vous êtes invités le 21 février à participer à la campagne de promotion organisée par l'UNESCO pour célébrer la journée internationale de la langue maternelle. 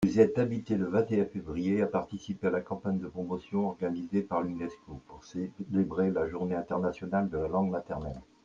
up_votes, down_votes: 0, 2